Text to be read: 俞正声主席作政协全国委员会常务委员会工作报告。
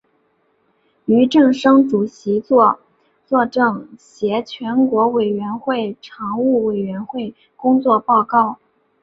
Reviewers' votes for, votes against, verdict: 3, 1, accepted